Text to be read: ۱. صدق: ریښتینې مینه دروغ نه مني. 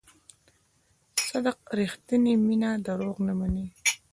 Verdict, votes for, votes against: rejected, 0, 2